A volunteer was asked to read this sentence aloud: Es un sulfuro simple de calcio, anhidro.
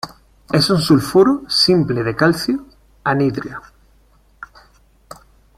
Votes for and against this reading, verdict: 0, 2, rejected